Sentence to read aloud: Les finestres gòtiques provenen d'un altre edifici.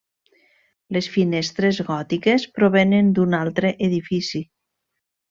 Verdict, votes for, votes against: accepted, 3, 0